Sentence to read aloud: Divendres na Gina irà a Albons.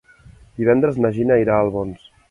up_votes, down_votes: 3, 0